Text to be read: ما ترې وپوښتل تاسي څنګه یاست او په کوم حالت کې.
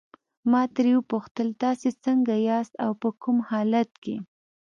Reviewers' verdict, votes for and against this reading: accepted, 2, 0